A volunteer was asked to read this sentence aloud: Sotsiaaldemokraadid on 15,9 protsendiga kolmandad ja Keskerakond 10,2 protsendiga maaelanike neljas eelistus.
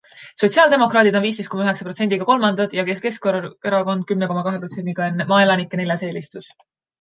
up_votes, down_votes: 0, 2